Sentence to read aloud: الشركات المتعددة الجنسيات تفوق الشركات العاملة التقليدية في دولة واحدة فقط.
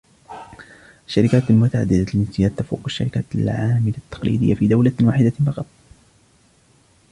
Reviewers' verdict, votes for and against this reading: rejected, 1, 2